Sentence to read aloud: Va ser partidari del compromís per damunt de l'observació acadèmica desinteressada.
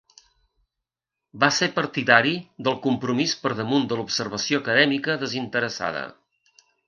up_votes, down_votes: 3, 0